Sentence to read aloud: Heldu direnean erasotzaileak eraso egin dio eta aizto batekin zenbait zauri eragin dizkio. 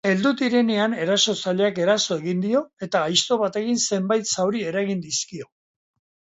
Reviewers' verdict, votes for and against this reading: accepted, 2, 0